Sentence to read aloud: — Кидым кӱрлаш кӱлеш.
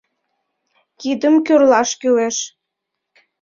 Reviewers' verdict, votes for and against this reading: accepted, 2, 0